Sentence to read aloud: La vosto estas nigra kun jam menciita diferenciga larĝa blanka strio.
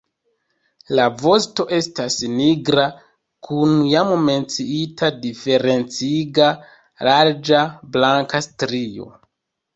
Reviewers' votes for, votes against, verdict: 1, 2, rejected